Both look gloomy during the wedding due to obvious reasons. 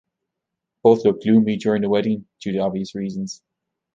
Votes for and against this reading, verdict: 2, 1, accepted